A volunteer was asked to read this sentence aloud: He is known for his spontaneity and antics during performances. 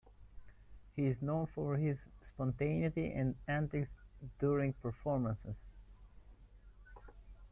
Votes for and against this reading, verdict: 3, 0, accepted